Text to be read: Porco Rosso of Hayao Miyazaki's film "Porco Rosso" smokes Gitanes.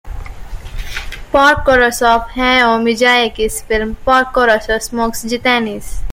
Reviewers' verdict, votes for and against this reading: rejected, 0, 2